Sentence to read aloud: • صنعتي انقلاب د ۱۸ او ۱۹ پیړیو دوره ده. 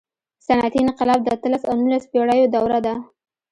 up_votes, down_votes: 0, 2